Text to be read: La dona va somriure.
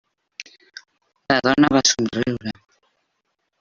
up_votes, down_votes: 1, 2